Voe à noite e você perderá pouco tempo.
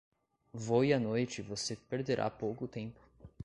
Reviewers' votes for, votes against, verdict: 2, 0, accepted